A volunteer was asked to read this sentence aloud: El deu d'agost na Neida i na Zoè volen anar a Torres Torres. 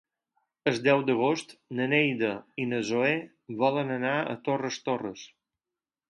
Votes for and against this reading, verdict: 4, 8, rejected